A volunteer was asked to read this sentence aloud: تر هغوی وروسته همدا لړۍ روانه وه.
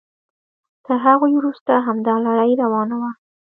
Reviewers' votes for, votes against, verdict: 1, 2, rejected